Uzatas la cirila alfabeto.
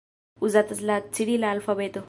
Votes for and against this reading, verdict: 1, 2, rejected